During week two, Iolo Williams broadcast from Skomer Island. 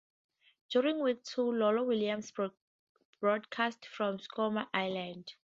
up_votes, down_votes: 0, 2